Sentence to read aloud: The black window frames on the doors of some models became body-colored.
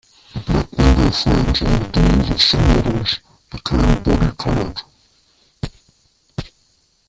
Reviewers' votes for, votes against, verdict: 0, 2, rejected